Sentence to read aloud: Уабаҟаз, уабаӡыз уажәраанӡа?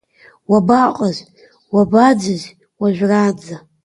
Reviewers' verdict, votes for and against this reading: accepted, 2, 0